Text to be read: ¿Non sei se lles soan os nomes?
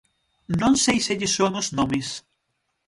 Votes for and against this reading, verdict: 6, 0, accepted